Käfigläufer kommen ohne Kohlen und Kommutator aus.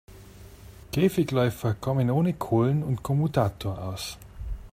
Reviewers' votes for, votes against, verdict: 2, 0, accepted